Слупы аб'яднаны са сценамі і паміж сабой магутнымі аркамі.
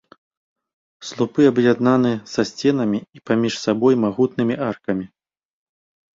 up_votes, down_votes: 2, 0